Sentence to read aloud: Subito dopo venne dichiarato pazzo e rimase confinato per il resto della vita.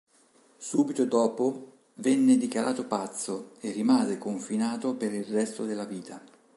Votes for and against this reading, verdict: 3, 0, accepted